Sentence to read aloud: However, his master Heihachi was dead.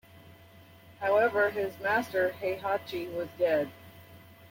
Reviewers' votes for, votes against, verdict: 1, 2, rejected